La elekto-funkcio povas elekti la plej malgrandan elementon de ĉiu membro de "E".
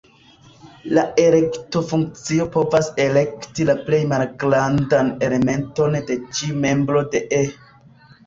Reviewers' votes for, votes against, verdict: 1, 2, rejected